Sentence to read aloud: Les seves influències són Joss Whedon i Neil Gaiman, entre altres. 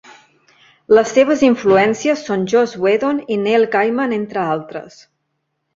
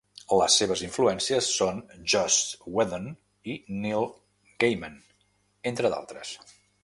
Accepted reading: first